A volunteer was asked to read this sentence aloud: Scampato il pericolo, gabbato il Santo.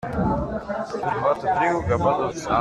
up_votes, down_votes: 0, 2